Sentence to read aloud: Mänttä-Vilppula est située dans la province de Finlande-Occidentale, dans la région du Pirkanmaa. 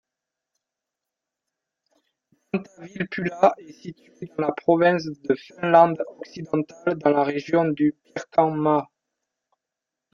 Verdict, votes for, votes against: rejected, 0, 2